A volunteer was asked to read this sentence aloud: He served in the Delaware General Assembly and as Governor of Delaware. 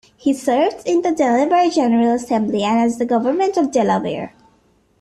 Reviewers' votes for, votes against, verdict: 0, 2, rejected